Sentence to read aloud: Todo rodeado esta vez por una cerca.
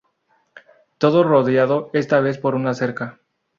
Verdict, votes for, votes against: accepted, 2, 0